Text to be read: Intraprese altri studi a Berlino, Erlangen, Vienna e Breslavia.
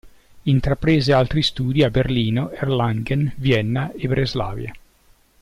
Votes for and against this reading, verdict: 2, 0, accepted